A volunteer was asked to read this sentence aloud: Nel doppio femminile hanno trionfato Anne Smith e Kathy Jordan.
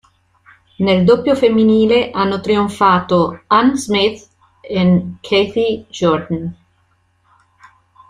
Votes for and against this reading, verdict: 2, 1, accepted